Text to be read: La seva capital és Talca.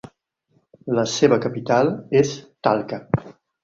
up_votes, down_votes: 4, 0